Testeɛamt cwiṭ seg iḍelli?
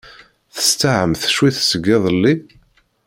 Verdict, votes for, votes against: rejected, 2, 3